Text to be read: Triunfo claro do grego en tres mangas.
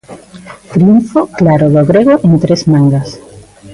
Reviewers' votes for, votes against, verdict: 2, 1, accepted